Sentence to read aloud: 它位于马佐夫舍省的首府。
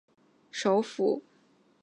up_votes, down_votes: 0, 2